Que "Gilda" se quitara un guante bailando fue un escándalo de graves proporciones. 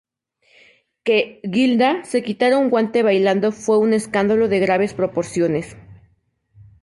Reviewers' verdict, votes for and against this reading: accepted, 4, 0